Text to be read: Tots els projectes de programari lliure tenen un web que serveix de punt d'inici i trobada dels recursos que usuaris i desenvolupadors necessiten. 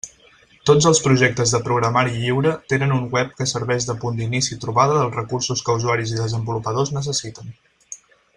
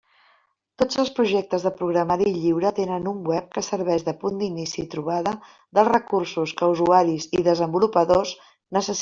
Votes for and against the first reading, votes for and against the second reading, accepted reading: 6, 0, 0, 2, first